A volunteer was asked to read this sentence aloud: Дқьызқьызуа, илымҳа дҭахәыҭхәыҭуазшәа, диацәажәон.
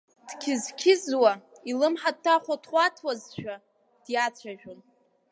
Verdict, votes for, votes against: rejected, 1, 3